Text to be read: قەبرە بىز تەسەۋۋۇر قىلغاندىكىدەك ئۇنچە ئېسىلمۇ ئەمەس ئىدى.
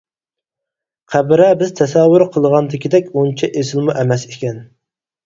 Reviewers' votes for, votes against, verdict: 0, 4, rejected